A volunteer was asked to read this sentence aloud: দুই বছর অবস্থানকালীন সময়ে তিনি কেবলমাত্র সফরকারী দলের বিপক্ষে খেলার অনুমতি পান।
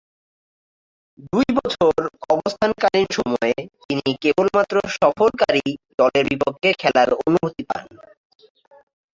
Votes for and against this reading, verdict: 0, 3, rejected